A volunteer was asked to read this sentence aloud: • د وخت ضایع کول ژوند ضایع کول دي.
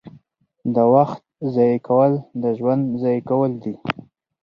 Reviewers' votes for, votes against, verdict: 4, 0, accepted